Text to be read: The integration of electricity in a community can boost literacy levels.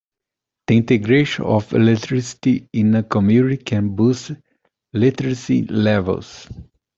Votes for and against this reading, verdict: 1, 2, rejected